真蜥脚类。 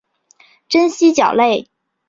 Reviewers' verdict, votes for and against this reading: accepted, 2, 0